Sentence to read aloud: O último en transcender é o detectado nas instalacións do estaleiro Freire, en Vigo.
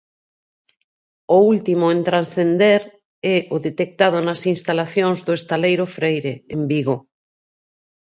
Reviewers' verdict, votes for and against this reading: accepted, 4, 0